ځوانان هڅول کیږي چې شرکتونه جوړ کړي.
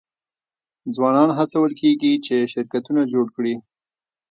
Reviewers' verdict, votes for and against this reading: accepted, 2, 0